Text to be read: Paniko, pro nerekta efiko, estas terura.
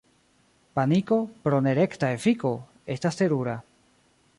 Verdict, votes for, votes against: rejected, 0, 2